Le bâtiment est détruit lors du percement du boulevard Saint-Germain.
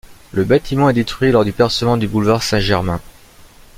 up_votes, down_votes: 2, 1